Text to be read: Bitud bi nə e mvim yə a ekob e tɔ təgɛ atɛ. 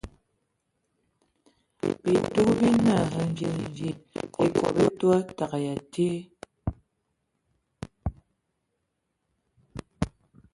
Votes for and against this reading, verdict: 0, 3, rejected